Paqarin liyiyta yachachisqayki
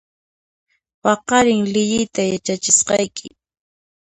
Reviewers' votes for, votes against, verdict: 2, 1, accepted